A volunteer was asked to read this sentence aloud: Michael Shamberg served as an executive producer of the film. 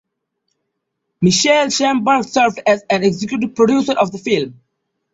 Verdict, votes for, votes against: accepted, 2, 0